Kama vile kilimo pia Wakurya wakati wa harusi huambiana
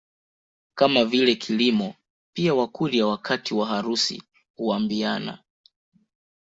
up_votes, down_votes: 2, 0